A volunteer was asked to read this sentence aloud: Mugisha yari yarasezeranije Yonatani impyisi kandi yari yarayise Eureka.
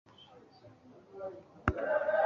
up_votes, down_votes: 2, 0